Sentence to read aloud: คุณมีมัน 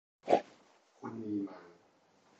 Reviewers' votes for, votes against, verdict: 0, 2, rejected